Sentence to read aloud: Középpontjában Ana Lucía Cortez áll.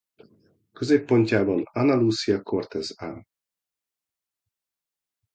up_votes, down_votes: 2, 0